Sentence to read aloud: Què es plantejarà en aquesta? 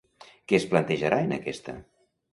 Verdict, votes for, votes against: accepted, 2, 0